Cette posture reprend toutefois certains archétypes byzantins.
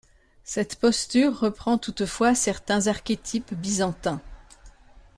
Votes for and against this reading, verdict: 2, 0, accepted